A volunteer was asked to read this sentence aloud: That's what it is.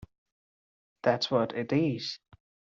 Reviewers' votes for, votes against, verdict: 2, 0, accepted